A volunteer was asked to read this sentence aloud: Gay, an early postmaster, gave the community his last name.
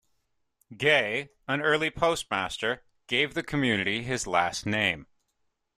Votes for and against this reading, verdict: 2, 0, accepted